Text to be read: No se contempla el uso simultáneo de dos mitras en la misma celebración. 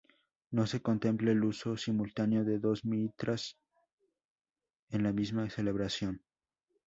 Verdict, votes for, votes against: rejected, 0, 2